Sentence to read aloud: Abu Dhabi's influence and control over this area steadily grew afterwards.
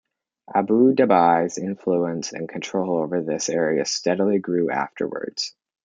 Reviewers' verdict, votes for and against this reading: rejected, 0, 2